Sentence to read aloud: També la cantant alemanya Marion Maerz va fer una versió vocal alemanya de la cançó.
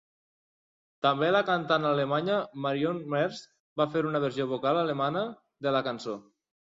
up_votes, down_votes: 1, 2